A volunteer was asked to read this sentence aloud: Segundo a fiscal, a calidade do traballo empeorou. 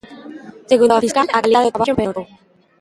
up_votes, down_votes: 0, 3